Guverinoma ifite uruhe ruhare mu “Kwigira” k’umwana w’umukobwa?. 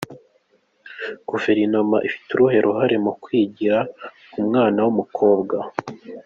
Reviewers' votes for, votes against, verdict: 2, 0, accepted